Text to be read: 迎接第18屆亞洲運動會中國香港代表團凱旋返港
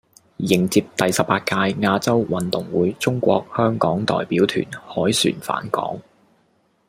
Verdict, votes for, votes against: rejected, 0, 2